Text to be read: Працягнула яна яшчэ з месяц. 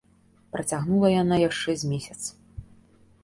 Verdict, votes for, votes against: accepted, 2, 0